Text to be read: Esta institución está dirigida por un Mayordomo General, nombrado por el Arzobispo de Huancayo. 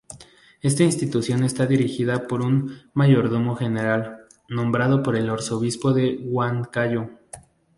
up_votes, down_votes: 2, 0